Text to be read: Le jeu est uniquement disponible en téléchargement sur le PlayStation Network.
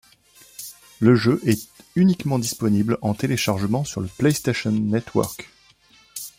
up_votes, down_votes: 2, 0